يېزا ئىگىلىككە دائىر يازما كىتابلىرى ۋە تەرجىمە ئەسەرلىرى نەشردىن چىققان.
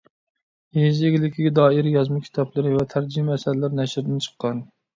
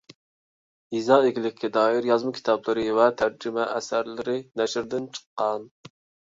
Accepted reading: second